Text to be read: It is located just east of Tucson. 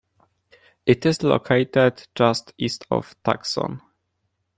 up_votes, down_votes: 1, 2